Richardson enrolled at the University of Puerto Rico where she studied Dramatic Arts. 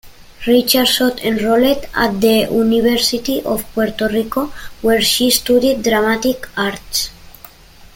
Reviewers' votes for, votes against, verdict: 2, 0, accepted